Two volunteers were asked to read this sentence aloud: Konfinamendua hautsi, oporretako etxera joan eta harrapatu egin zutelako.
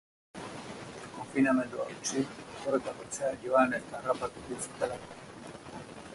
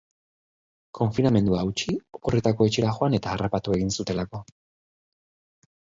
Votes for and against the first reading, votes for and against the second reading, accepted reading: 0, 2, 2, 0, second